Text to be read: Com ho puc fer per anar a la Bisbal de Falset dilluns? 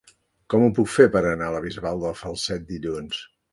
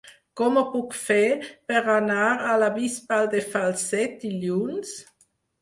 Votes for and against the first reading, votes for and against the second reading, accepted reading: 1, 2, 6, 0, second